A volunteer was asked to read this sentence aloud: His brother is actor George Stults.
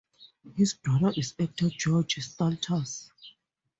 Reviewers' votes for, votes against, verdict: 2, 2, rejected